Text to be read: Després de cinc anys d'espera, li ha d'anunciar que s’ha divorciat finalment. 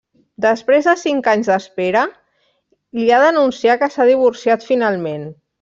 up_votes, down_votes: 3, 0